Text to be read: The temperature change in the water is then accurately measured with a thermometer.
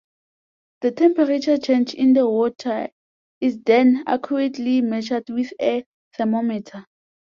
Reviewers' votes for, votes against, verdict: 2, 0, accepted